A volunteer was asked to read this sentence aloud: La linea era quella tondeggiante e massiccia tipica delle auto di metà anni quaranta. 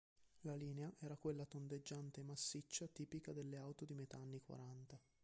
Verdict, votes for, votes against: accepted, 2, 0